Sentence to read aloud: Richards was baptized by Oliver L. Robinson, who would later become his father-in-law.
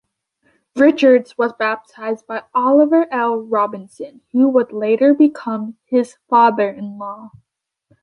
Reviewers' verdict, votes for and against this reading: accepted, 2, 0